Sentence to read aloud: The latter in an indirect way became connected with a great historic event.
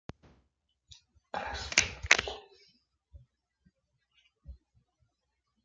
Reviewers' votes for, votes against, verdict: 0, 2, rejected